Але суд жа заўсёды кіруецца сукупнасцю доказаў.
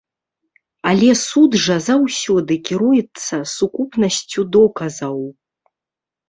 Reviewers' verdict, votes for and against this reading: rejected, 0, 2